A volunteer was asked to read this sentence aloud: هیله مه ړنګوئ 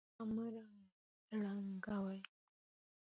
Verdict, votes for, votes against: rejected, 0, 2